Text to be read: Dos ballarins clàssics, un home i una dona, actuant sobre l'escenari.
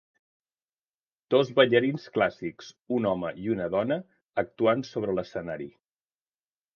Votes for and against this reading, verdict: 4, 0, accepted